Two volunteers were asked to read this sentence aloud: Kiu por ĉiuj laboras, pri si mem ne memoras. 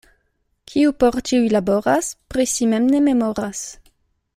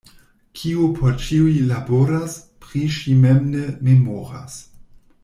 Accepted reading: first